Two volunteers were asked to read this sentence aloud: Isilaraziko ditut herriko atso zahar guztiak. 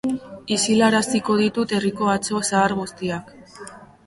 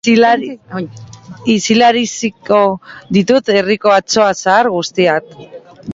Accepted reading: first